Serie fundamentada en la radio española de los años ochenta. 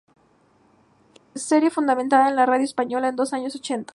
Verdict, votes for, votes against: accepted, 2, 0